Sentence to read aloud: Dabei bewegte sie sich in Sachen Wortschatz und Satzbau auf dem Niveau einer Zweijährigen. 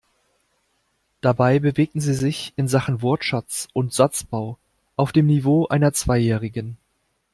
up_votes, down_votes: 2, 3